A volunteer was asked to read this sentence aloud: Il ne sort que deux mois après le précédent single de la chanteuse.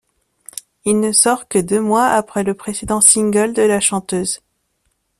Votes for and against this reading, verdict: 2, 0, accepted